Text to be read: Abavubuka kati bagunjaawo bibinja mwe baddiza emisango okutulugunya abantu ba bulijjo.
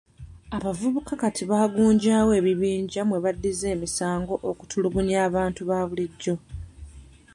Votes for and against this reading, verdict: 1, 2, rejected